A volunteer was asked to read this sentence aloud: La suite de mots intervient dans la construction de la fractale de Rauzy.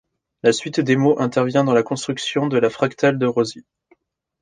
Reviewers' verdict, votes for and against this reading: rejected, 0, 2